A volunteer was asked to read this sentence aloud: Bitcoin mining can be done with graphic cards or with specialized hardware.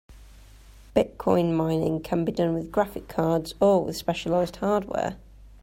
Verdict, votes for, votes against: accepted, 2, 0